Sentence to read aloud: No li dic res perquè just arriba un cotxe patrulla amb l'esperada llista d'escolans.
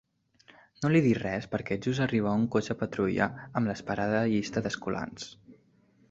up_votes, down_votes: 2, 0